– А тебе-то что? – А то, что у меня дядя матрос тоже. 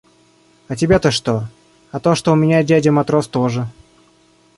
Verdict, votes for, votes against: rejected, 0, 2